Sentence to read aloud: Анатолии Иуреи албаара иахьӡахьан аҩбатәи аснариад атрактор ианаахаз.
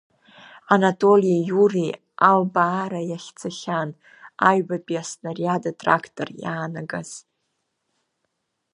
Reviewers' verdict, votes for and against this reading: rejected, 0, 2